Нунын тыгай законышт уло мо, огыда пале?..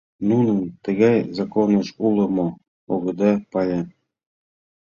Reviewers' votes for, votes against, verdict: 1, 2, rejected